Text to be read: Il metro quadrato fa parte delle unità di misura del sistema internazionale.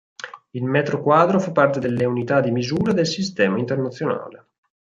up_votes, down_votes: 0, 4